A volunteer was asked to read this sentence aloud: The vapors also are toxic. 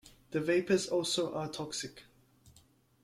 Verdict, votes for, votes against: accepted, 2, 0